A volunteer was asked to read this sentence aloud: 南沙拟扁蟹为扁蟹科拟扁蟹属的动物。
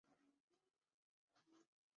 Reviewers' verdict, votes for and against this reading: rejected, 1, 3